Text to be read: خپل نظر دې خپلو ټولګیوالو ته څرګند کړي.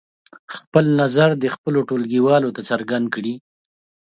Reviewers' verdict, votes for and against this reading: accepted, 2, 0